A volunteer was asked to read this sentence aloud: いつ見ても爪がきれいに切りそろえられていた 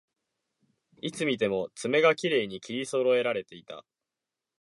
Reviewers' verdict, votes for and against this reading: accepted, 2, 0